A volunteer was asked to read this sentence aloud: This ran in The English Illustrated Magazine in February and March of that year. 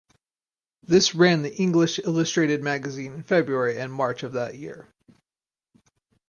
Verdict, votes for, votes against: rejected, 0, 4